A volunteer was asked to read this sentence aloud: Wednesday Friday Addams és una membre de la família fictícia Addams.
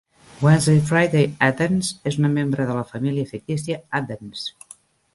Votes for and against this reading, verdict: 2, 0, accepted